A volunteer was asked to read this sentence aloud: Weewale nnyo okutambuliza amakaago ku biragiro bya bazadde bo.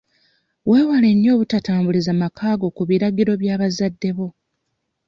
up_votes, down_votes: 0, 2